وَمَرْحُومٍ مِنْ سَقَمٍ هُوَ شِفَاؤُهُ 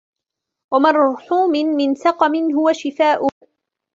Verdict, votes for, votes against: accepted, 2, 0